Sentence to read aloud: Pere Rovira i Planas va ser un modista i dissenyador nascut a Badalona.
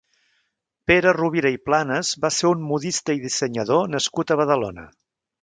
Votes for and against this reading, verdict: 2, 0, accepted